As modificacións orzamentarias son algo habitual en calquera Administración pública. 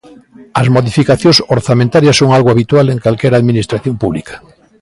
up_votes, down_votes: 3, 0